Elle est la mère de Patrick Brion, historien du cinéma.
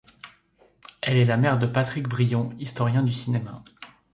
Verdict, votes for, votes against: accepted, 2, 0